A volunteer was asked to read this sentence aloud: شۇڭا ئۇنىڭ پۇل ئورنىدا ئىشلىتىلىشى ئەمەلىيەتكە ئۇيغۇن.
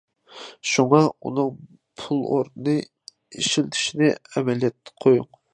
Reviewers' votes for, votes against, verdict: 0, 2, rejected